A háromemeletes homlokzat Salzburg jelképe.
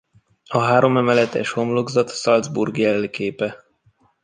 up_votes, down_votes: 2, 1